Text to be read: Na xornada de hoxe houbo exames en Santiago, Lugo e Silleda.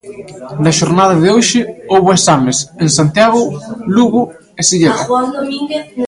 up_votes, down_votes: 0, 2